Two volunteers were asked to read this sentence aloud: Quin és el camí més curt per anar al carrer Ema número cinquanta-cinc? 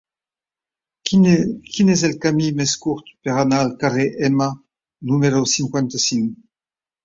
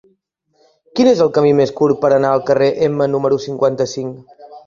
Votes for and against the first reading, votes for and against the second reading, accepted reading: 1, 2, 2, 0, second